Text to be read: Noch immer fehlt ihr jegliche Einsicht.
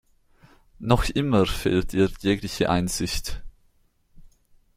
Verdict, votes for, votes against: rejected, 1, 2